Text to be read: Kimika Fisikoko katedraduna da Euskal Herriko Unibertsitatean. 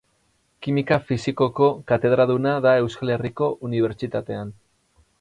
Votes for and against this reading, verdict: 6, 0, accepted